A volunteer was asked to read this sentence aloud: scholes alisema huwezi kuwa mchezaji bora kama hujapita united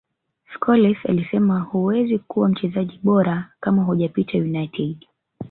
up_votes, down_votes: 0, 2